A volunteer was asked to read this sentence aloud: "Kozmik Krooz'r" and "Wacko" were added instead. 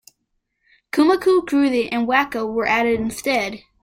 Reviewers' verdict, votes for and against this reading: accepted, 2, 1